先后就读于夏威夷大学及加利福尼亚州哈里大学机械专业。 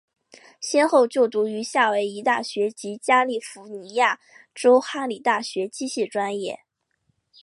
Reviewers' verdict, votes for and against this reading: accepted, 4, 0